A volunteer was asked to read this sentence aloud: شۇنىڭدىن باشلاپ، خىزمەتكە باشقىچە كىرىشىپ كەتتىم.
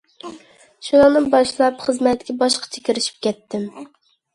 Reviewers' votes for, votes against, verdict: 2, 0, accepted